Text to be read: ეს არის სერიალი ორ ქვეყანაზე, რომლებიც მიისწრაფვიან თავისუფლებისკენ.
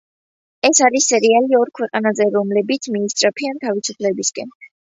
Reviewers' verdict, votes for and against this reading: accepted, 2, 0